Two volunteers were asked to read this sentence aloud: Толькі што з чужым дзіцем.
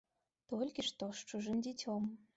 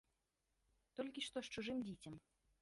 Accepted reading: first